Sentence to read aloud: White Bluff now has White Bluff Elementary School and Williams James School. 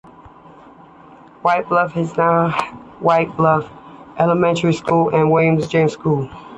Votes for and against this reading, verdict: 2, 0, accepted